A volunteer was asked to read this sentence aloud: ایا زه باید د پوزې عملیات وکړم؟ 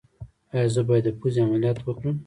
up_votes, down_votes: 0, 2